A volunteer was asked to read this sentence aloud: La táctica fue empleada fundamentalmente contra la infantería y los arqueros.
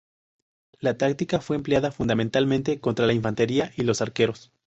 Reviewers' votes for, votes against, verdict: 2, 0, accepted